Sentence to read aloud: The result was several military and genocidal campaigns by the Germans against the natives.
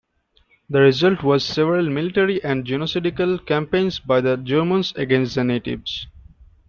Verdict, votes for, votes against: rejected, 0, 2